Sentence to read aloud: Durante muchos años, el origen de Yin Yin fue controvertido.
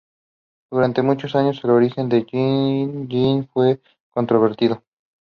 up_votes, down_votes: 2, 0